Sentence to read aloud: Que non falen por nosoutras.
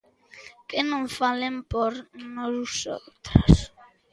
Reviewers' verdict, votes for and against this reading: rejected, 0, 2